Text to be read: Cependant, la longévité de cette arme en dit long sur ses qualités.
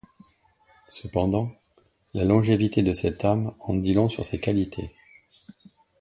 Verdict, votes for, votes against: accepted, 2, 0